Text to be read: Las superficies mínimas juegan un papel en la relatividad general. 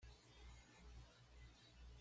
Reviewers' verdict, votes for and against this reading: rejected, 1, 2